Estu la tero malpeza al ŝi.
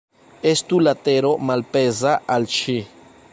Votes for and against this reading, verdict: 2, 0, accepted